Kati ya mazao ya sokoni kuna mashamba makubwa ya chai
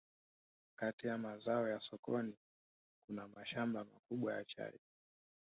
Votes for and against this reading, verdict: 1, 2, rejected